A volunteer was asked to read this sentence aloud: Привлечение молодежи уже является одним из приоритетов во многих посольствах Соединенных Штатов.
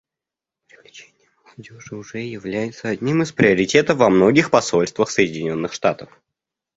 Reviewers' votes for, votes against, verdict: 0, 2, rejected